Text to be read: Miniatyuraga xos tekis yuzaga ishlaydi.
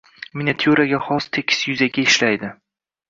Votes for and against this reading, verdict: 0, 2, rejected